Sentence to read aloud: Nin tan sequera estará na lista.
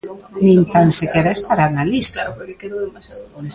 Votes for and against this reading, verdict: 0, 2, rejected